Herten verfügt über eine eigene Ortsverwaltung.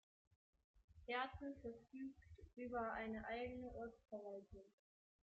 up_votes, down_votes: 0, 2